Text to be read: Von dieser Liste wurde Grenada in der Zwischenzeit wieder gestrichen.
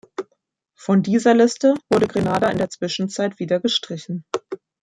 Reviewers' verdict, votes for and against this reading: rejected, 1, 3